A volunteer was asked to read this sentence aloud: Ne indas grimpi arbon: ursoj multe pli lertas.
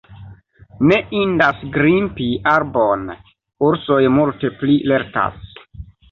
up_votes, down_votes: 1, 2